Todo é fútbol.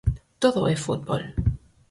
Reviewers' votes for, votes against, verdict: 4, 0, accepted